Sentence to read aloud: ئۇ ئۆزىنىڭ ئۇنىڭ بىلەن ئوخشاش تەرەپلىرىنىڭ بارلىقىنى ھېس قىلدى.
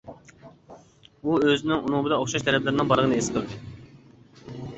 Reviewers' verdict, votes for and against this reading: rejected, 1, 2